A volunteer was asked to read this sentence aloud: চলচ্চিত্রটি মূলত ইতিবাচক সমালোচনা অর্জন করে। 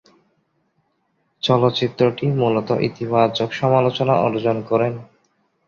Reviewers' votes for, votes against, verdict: 0, 2, rejected